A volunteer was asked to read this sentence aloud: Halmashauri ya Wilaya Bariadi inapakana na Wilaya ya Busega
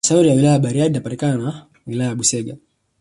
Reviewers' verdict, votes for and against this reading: accepted, 2, 0